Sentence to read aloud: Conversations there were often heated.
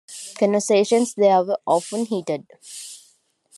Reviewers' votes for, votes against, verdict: 1, 2, rejected